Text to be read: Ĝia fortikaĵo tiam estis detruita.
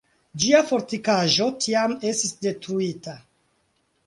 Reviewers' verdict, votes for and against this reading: accepted, 4, 0